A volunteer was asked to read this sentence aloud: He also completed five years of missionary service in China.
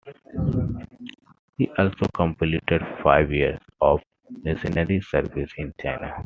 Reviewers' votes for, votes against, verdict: 0, 2, rejected